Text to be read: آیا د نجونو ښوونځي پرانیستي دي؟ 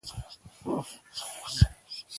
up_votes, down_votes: 0, 2